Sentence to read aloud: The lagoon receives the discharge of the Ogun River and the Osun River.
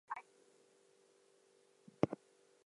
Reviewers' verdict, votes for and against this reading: rejected, 0, 4